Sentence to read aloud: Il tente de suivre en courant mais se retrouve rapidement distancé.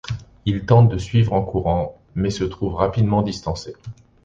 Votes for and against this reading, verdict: 1, 2, rejected